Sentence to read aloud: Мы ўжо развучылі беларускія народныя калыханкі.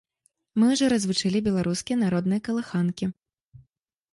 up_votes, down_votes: 1, 2